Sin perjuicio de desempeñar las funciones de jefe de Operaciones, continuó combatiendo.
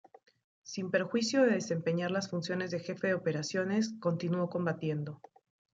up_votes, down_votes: 1, 2